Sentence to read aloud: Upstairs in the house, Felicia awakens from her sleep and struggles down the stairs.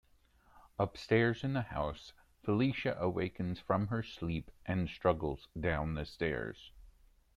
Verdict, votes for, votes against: accepted, 2, 0